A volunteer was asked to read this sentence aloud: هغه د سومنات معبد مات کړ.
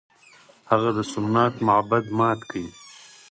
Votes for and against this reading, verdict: 4, 0, accepted